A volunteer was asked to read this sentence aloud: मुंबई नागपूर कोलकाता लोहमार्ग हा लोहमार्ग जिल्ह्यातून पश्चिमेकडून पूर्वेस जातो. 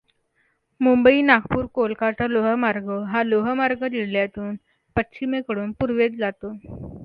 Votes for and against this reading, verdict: 2, 0, accepted